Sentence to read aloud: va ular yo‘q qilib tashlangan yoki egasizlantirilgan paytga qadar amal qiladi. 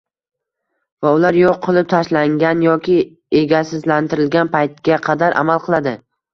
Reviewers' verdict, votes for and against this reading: rejected, 1, 2